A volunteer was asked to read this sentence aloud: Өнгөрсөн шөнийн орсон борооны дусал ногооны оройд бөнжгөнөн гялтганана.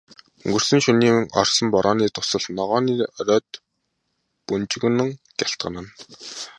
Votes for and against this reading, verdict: 2, 0, accepted